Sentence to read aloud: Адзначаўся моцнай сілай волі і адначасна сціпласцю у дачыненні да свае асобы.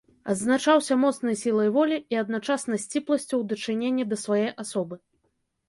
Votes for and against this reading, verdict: 2, 0, accepted